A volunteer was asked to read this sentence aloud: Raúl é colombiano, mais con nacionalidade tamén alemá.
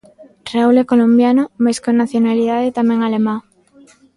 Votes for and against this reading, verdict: 1, 2, rejected